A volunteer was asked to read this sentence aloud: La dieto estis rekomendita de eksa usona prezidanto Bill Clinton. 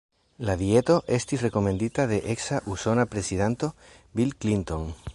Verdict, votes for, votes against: accepted, 3, 1